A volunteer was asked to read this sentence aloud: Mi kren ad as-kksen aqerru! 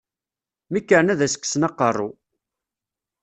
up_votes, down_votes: 2, 0